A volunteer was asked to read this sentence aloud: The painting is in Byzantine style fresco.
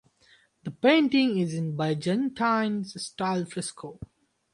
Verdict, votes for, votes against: rejected, 2, 4